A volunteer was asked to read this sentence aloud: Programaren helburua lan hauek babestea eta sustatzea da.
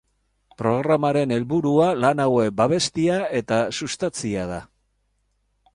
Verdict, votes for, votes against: rejected, 0, 2